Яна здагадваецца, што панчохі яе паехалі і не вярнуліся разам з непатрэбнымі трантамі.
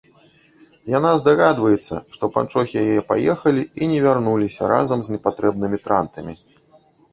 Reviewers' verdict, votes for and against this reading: rejected, 0, 2